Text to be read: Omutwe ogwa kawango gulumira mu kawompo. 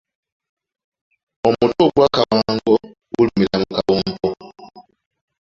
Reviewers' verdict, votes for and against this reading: rejected, 1, 2